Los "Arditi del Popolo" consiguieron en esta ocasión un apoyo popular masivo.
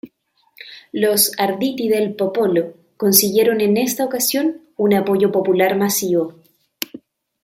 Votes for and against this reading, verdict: 2, 0, accepted